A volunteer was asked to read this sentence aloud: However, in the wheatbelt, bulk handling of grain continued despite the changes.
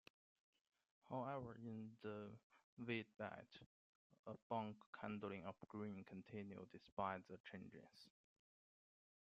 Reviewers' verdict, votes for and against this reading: accepted, 2, 0